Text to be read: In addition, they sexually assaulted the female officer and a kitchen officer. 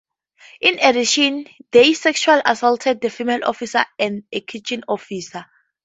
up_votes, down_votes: 4, 2